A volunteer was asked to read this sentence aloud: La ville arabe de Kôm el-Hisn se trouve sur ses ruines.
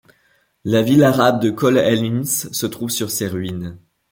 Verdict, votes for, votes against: rejected, 1, 2